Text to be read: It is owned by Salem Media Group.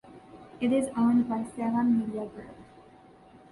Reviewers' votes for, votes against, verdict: 2, 1, accepted